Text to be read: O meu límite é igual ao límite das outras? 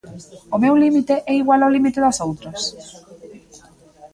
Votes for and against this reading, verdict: 2, 0, accepted